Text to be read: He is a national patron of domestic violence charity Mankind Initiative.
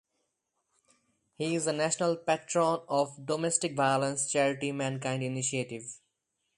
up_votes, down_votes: 2, 0